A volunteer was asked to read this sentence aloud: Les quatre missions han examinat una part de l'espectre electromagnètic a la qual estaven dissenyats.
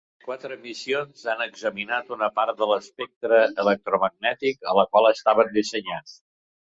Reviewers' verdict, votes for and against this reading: rejected, 1, 2